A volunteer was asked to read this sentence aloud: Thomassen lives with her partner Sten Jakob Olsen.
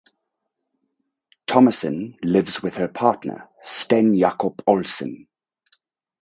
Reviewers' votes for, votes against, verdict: 2, 2, rejected